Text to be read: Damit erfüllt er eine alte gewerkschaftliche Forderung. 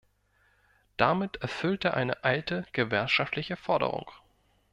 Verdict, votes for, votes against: rejected, 1, 2